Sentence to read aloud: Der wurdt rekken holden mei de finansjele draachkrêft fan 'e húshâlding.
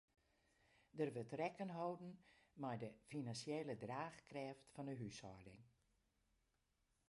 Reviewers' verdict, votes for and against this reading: rejected, 0, 2